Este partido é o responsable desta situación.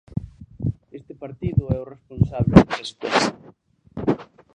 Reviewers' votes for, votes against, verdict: 0, 2, rejected